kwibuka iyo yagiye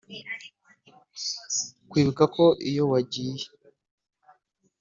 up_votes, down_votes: 1, 2